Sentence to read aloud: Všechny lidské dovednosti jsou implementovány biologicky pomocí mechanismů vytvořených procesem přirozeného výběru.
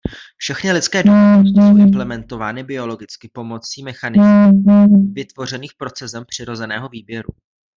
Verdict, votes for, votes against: rejected, 0, 2